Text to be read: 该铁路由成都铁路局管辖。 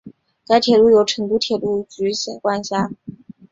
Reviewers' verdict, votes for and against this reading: accepted, 5, 0